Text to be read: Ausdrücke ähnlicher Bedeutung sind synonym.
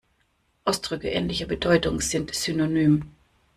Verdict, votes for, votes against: accepted, 2, 0